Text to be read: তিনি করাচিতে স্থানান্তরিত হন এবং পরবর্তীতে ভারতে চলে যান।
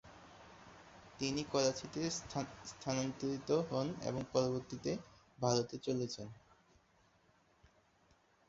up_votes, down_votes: 1, 2